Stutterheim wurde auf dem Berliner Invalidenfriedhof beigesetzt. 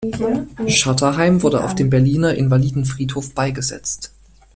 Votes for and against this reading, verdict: 2, 1, accepted